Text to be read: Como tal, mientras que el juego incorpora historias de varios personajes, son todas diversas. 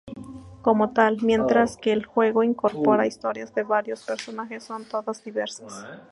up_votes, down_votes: 0, 2